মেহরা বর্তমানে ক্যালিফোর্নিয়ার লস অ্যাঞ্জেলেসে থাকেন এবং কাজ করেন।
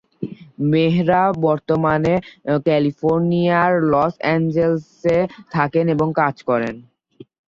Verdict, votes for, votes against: accepted, 3, 0